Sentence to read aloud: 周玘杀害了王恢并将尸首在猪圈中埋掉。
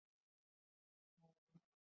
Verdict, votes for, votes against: rejected, 0, 2